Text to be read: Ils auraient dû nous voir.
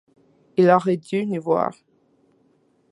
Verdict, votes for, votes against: rejected, 1, 2